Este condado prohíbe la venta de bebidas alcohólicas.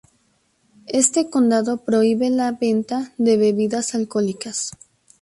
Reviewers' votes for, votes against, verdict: 2, 0, accepted